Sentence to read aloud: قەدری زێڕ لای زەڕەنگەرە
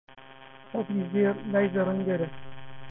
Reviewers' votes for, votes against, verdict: 0, 2, rejected